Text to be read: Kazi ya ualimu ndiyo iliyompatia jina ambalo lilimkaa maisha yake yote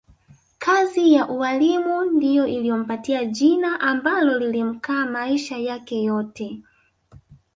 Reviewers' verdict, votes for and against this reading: rejected, 1, 2